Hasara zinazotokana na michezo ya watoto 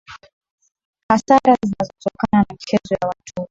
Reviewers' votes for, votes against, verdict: 0, 2, rejected